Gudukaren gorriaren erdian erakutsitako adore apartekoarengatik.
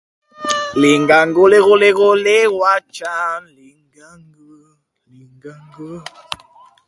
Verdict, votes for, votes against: rejected, 0, 2